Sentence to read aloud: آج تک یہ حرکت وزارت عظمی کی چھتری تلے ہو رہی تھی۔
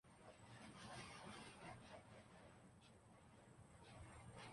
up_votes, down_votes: 1, 3